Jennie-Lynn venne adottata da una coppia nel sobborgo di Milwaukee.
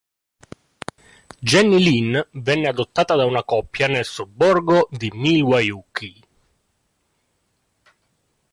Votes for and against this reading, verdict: 0, 2, rejected